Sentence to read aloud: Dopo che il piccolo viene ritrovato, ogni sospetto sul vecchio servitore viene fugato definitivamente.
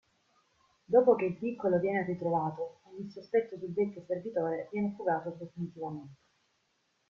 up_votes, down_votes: 0, 2